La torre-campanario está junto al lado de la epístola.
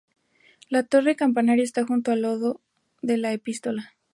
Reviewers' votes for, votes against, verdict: 2, 0, accepted